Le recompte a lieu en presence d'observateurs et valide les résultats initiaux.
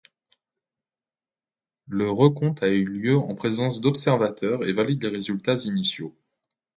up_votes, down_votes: 0, 2